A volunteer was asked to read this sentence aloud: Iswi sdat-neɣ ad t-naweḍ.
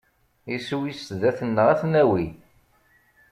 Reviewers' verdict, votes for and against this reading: rejected, 1, 2